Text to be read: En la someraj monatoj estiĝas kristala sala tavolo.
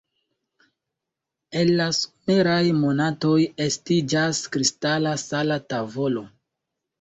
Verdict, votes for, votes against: rejected, 0, 2